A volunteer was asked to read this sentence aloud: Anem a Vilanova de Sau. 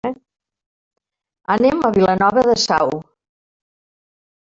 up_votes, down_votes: 1, 2